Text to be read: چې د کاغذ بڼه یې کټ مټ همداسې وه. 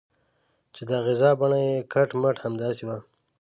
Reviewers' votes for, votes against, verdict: 0, 2, rejected